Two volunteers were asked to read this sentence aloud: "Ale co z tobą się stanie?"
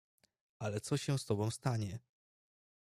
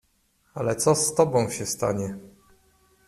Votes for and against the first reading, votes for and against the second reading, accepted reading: 1, 2, 2, 0, second